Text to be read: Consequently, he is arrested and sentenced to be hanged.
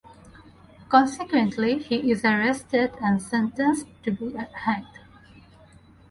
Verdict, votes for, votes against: rejected, 0, 4